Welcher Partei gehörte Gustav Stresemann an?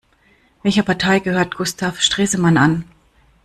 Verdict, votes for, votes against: rejected, 0, 2